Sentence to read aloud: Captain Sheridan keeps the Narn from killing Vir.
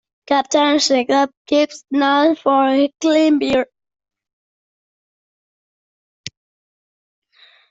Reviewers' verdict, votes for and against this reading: rejected, 1, 2